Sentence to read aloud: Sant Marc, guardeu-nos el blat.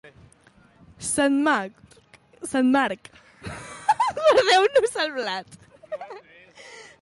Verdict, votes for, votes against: rejected, 1, 2